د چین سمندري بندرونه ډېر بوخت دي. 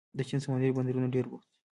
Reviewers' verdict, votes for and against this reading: accepted, 2, 0